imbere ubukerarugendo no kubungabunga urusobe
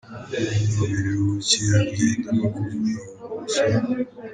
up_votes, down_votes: 1, 2